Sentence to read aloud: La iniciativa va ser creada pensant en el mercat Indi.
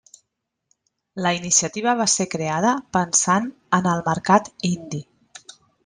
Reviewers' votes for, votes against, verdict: 1, 2, rejected